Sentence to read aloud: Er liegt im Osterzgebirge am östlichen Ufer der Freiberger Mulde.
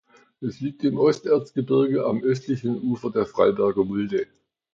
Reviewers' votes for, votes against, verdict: 0, 2, rejected